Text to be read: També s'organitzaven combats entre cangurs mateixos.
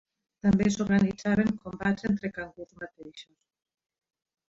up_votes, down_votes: 2, 1